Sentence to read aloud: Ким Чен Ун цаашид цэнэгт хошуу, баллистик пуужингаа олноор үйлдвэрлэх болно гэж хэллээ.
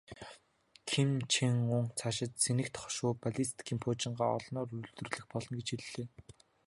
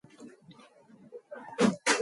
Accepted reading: first